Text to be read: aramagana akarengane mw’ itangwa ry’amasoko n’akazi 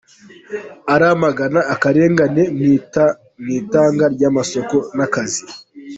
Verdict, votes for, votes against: rejected, 1, 2